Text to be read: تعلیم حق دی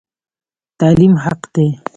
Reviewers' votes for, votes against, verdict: 2, 0, accepted